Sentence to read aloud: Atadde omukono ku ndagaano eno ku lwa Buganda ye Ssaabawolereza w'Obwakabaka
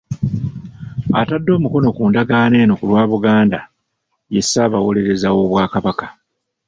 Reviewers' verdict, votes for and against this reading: accepted, 3, 0